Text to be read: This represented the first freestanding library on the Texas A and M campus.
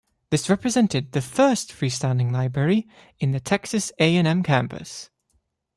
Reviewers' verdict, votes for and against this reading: rejected, 1, 2